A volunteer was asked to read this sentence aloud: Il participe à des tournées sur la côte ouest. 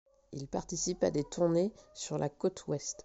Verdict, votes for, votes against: accepted, 2, 0